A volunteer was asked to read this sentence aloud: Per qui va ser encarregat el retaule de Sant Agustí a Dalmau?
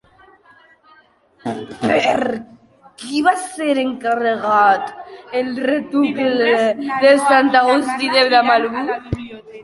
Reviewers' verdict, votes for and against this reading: rejected, 0, 2